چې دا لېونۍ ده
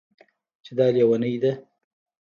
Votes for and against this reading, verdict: 0, 2, rejected